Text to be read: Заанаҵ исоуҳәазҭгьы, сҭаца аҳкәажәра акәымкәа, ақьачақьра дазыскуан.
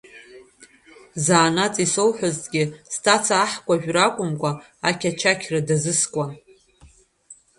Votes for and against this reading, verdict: 1, 2, rejected